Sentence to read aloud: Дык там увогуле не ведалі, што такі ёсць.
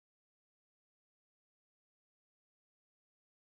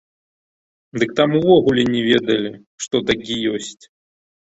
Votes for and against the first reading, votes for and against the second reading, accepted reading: 0, 2, 2, 0, second